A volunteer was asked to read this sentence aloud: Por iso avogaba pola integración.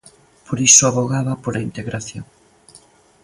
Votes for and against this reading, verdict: 2, 0, accepted